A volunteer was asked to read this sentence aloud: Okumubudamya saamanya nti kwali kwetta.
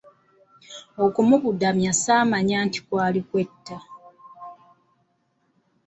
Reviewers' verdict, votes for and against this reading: accepted, 2, 1